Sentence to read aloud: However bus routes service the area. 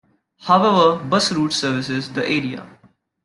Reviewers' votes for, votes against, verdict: 0, 2, rejected